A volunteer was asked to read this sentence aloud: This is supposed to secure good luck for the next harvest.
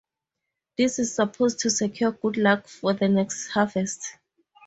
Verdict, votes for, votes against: accepted, 2, 0